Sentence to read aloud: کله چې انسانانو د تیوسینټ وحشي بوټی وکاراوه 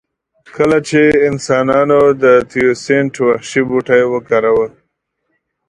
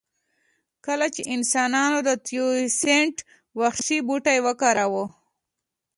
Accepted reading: second